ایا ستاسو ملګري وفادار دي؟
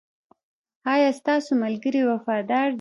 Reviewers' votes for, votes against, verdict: 1, 2, rejected